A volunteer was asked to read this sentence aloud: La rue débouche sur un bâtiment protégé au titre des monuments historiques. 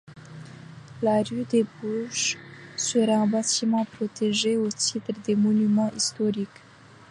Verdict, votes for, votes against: accepted, 2, 0